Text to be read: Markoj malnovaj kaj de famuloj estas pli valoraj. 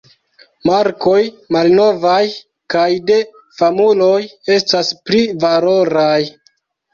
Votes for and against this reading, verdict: 2, 1, accepted